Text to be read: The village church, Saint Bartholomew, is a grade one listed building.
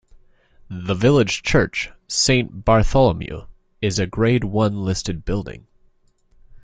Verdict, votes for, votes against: accepted, 2, 0